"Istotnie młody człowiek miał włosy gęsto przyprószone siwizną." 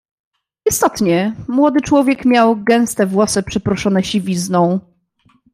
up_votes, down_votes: 0, 2